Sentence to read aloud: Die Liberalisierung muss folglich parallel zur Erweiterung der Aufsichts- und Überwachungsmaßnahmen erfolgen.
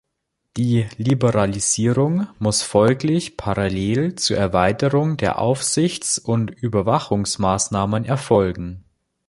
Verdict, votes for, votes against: accepted, 3, 0